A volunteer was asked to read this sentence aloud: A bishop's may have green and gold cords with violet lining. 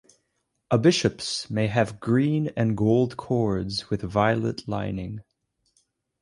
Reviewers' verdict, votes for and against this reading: accepted, 4, 0